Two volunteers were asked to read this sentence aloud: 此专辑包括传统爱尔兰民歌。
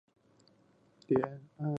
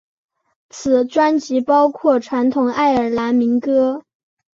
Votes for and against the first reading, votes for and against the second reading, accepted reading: 0, 2, 3, 0, second